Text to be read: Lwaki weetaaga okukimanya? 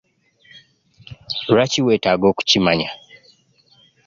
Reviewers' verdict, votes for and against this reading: accepted, 2, 1